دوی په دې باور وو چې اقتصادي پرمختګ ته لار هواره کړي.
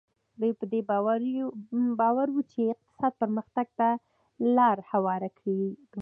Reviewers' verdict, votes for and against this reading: accepted, 2, 0